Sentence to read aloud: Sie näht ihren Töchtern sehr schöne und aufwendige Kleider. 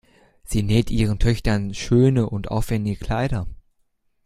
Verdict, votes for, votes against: rejected, 0, 2